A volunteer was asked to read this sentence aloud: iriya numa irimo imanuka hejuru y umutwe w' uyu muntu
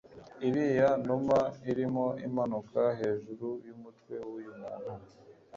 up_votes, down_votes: 1, 2